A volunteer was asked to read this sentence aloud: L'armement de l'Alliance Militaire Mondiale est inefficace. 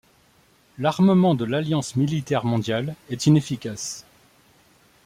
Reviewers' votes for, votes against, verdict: 2, 0, accepted